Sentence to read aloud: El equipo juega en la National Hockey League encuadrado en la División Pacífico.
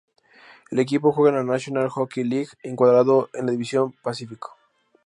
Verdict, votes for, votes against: rejected, 0, 2